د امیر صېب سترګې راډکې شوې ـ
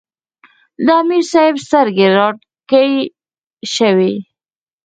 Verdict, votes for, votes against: rejected, 2, 4